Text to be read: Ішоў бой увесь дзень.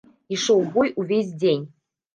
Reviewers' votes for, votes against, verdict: 2, 0, accepted